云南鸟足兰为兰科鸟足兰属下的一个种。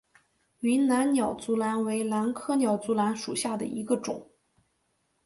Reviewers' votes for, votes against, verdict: 4, 0, accepted